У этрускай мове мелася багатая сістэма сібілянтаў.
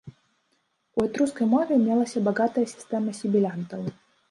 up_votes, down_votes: 1, 2